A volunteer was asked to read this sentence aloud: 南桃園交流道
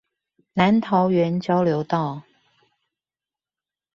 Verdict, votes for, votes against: accepted, 2, 0